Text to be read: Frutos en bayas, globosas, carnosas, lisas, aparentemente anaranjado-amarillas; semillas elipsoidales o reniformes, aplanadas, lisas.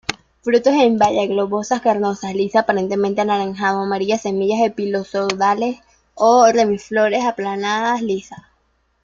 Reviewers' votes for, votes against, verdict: 0, 2, rejected